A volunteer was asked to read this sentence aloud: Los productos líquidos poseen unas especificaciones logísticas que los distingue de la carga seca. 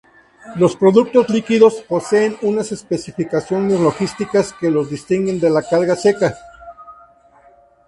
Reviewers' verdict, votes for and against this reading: rejected, 0, 2